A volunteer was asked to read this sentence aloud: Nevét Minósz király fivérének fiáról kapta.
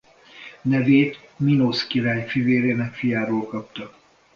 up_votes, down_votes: 2, 0